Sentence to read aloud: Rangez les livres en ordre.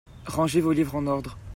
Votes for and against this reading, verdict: 0, 2, rejected